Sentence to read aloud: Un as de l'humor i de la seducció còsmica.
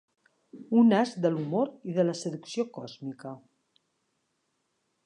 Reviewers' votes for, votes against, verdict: 3, 0, accepted